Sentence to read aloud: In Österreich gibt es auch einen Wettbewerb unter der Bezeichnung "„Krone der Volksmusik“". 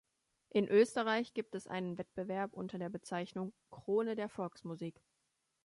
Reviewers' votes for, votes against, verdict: 0, 3, rejected